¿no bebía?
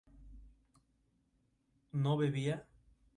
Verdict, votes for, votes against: accepted, 2, 0